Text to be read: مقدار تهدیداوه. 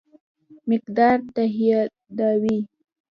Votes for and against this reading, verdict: 1, 3, rejected